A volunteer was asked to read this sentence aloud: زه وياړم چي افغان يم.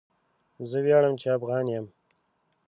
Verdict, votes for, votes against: accepted, 2, 0